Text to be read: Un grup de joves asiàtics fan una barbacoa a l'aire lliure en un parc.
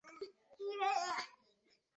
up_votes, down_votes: 0, 2